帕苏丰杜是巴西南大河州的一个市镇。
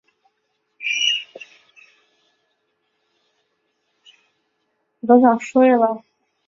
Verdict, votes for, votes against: rejected, 2, 3